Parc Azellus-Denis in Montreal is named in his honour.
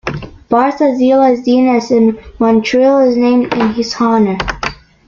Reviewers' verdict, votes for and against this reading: accepted, 2, 0